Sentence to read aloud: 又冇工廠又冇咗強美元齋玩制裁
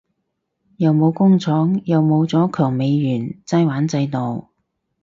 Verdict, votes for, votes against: rejected, 2, 2